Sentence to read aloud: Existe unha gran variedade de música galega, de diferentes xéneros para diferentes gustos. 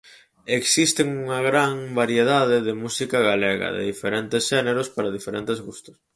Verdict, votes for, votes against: rejected, 2, 2